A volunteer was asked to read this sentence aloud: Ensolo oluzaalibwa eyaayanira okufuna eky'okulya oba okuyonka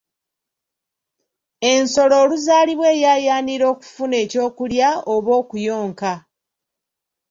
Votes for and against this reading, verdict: 2, 0, accepted